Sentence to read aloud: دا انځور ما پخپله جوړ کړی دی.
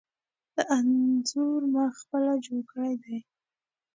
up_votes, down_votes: 2, 0